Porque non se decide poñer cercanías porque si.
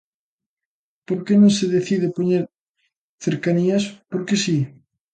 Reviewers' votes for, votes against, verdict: 1, 2, rejected